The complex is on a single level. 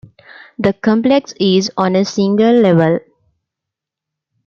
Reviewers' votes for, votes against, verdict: 2, 1, accepted